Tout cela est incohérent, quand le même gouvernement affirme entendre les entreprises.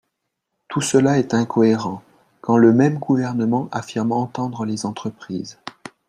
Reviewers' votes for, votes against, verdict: 2, 0, accepted